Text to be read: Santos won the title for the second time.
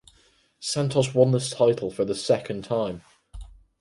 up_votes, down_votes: 2, 4